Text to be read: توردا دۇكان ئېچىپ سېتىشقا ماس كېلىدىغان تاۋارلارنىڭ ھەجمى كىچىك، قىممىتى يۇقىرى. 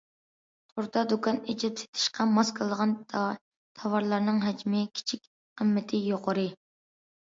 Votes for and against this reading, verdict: 0, 2, rejected